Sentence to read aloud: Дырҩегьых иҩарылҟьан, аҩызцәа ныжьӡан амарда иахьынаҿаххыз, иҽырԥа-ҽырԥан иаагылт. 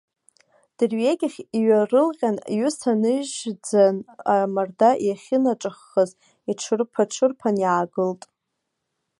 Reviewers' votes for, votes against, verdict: 0, 2, rejected